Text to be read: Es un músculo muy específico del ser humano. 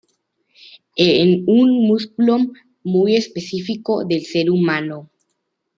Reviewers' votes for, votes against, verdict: 1, 2, rejected